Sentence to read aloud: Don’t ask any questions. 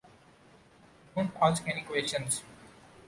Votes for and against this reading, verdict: 2, 0, accepted